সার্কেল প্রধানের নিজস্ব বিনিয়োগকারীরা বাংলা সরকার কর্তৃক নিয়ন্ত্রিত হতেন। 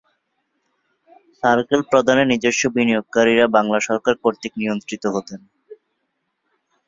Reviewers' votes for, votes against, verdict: 2, 0, accepted